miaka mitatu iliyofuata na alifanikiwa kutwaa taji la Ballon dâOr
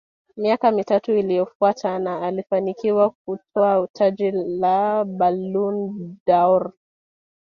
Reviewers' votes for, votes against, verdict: 2, 1, accepted